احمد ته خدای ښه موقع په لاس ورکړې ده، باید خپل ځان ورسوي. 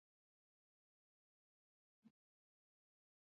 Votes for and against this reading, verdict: 2, 0, accepted